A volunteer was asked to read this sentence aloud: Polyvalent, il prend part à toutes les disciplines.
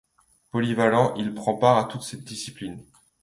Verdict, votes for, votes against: rejected, 0, 2